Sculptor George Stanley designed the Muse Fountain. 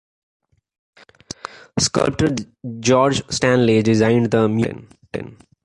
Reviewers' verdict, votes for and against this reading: rejected, 1, 2